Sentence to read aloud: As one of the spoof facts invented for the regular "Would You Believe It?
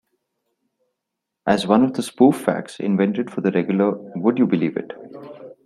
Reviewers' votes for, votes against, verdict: 2, 0, accepted